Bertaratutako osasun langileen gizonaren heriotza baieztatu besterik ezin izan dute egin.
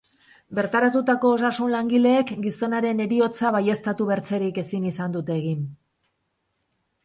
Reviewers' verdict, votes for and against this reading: rejected, 0, 4